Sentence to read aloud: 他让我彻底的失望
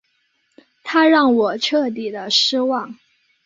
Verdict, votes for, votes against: accepted, 2, 0